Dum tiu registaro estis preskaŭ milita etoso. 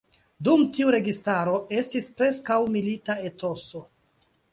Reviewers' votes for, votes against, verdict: 2, 1, accepted